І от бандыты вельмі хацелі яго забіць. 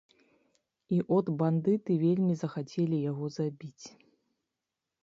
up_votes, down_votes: 0, 2